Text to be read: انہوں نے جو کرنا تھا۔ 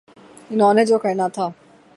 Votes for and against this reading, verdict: 0, 3, rejected